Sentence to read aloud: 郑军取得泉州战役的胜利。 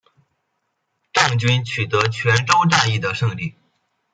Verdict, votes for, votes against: rejected, 1, 2